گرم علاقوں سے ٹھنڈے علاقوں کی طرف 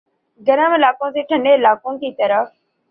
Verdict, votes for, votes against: accepted, 3, 0